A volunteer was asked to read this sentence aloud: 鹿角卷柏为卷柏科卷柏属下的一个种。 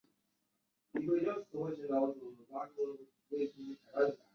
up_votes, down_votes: 1, 2